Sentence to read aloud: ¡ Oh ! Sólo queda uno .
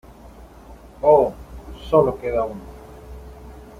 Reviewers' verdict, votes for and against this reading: accepted, 2, 1